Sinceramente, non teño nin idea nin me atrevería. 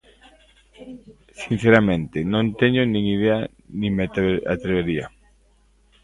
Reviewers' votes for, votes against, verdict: 0, 2, rejected